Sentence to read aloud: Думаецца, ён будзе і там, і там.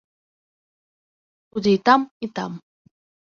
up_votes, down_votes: 0, 4